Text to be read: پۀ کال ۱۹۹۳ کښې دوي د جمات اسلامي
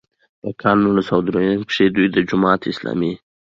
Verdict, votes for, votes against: rejected, 0, 2